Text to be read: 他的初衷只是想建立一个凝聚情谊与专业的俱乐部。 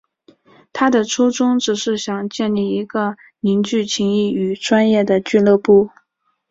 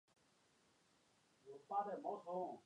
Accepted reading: first